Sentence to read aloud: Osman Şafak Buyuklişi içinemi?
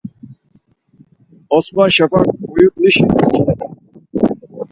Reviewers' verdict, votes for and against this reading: rejected, 0, 4